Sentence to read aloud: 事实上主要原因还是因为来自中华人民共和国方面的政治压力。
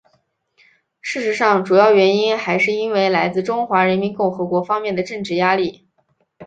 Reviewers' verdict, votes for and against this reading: accepted, 2, 0